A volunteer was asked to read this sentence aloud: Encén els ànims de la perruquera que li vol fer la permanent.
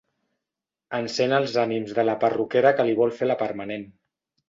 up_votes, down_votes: 2, 0